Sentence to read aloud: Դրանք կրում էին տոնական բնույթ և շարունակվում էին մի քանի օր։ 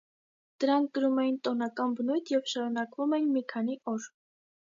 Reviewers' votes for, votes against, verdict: 2, 0, accepted